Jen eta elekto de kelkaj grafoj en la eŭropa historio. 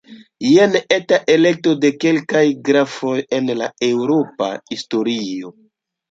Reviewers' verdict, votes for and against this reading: rejected, 1, 2